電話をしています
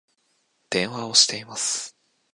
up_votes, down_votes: 2, 0